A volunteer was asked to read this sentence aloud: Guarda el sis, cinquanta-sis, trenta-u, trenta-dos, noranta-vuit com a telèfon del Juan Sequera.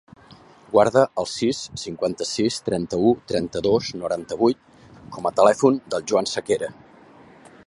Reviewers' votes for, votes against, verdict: 1, 2, rejected